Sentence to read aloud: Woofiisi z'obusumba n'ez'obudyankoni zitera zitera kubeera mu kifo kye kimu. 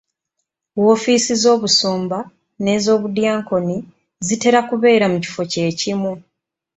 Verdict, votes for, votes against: accepted, 2, 0